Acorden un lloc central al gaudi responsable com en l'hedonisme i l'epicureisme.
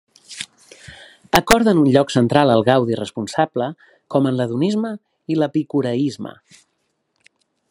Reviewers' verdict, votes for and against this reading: accepted, 2, 0